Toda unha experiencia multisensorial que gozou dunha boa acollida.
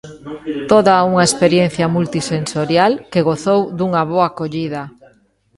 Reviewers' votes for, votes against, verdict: 3, 0, accepted